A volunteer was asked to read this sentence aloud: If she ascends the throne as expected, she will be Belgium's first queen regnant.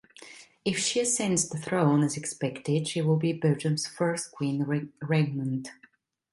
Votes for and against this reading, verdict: 1, 2, rejected